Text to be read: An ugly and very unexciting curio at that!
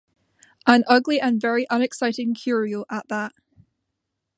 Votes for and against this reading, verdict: 2, 0, accepted